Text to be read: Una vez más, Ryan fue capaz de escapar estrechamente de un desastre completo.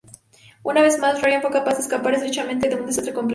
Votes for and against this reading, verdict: 2, 4, rejected